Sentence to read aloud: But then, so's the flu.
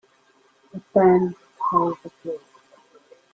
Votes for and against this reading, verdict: 0, 2, rejected